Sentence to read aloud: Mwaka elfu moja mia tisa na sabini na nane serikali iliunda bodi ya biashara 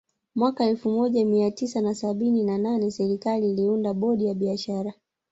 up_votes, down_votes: 1, 2